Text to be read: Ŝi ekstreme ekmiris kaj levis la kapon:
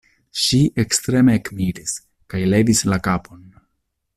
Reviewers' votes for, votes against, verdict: 2, 0, accepted